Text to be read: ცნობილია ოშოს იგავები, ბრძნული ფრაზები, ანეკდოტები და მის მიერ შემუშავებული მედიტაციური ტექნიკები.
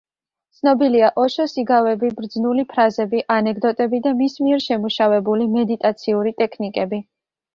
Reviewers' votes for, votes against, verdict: 2, 0, accepted